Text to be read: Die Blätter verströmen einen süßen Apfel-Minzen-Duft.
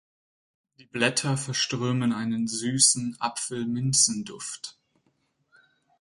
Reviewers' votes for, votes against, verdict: 2, 4, rejected